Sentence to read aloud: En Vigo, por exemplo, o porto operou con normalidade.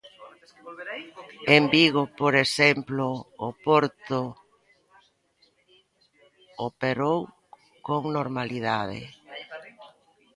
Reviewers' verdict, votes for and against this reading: rejected, 0, 2